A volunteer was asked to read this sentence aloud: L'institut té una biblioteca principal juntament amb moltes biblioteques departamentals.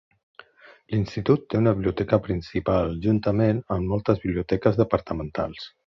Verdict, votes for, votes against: accepted, 5, 1